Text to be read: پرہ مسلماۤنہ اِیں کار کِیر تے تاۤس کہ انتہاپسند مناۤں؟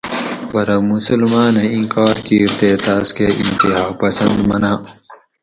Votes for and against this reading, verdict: 4, 0, accepted